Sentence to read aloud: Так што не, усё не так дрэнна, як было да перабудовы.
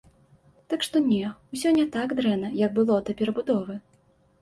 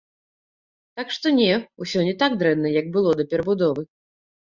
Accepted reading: first